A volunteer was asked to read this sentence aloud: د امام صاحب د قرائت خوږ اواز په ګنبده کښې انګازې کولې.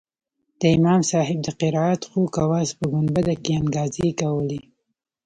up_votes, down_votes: 0, 2